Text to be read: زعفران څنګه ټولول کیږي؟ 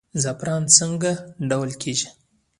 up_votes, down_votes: 0, 2